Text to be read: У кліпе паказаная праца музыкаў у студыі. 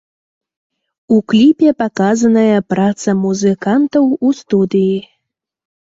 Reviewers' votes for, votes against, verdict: 0, 2, rejected